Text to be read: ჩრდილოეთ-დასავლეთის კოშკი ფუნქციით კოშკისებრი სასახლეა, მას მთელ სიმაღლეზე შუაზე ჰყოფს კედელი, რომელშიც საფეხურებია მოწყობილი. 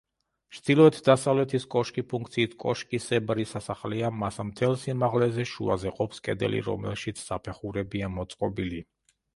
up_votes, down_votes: 0, 2